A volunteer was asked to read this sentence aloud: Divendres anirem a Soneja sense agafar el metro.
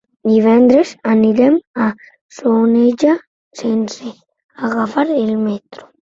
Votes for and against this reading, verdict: 1, 2, rejected